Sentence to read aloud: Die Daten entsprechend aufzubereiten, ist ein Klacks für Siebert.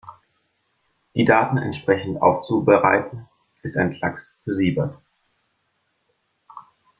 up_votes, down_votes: 1, 3